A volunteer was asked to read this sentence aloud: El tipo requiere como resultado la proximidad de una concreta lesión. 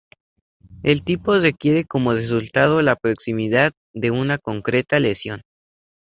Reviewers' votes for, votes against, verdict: 0, 2, rejected